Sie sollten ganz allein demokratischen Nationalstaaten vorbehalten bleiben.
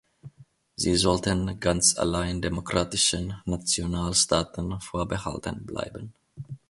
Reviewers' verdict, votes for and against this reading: accepted, 2, 0